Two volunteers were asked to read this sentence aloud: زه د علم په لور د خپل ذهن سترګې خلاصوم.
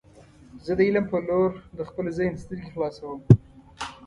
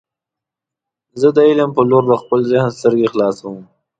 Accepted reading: second